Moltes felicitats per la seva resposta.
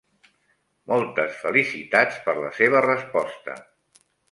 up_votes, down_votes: 3, 0